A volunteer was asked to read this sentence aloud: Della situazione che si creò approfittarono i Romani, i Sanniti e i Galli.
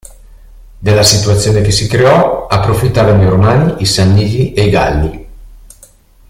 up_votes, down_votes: 2, 0